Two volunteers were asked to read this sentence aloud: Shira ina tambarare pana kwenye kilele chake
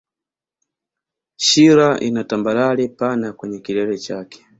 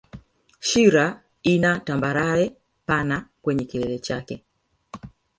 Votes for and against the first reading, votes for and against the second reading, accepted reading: 2, 0, 0, 2, first